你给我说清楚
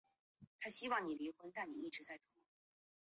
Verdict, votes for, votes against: rejected, 0, 3